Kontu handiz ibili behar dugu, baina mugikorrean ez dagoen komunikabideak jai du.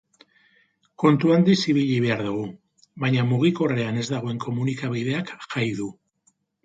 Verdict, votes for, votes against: accepted, 2, 0